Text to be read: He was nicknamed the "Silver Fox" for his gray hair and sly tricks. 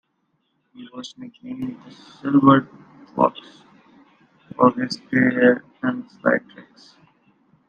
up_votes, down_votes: 0, 2